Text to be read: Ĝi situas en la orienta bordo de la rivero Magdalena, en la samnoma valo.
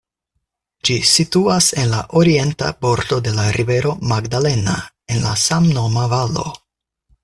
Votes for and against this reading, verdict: 4, 0, accepted